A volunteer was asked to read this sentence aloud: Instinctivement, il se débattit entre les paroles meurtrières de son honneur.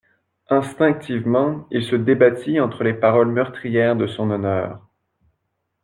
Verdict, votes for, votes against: accepted, 2, 0